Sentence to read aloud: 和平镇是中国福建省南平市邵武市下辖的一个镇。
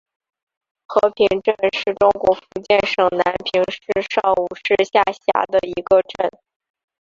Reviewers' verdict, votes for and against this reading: rejected, 1, 2